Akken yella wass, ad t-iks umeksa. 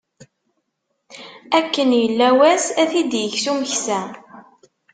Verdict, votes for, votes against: rejected, 1, 2